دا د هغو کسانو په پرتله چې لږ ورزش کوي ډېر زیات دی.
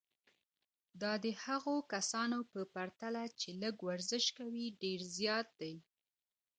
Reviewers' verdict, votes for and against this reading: rejected, 1, 2